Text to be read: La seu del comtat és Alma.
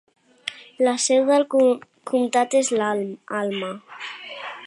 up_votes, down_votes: 0, 2